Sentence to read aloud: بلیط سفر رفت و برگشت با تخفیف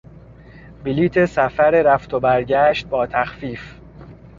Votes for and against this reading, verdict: 2, 0, accepted